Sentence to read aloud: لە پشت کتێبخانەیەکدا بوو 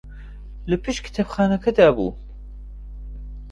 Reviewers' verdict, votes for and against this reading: rejected, 0, 2